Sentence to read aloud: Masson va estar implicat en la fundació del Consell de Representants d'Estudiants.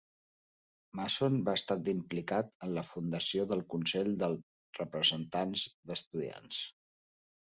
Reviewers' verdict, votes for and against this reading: rejected, 0, 2